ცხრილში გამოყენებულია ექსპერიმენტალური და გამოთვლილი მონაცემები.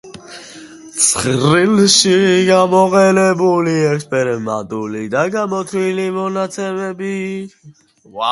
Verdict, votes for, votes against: rejected, 0, 2